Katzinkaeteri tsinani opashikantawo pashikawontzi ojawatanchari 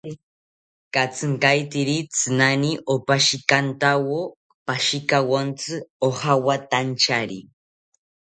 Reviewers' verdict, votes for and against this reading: accepted, 2, 0